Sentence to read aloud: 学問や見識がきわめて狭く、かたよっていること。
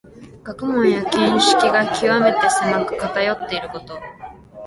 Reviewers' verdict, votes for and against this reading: rejected, 1, 2